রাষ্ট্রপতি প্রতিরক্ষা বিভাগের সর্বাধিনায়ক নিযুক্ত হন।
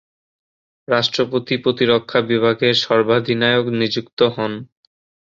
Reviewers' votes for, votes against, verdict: 2, 0, accepted